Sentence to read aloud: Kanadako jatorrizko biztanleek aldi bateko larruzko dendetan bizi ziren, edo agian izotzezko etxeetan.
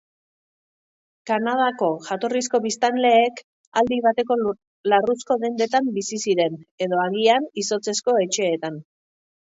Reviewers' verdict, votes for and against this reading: rejected, 0, 2